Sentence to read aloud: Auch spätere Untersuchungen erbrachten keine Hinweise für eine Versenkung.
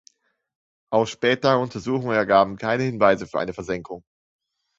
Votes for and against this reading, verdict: 0, 2, rejected